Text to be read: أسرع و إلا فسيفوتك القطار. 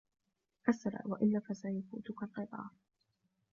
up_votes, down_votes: 0, 2